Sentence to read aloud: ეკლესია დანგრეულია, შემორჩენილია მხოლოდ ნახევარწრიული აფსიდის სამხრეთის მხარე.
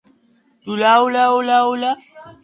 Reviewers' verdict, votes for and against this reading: rejected, 0, 2